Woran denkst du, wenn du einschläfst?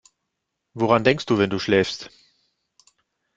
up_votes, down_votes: 0, 2